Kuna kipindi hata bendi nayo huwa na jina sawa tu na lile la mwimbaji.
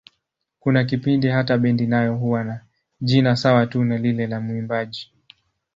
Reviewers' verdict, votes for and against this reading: accepted, 3, 0